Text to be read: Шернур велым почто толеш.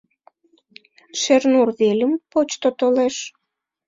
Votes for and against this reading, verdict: 1, 3, rejected